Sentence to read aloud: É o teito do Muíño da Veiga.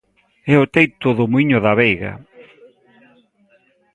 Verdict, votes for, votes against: rejected, 0, 2